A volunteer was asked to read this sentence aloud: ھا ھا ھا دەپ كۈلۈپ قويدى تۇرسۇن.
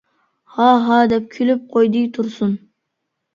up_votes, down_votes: 0, 2